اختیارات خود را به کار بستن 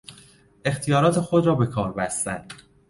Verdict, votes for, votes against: accepted, 2, 0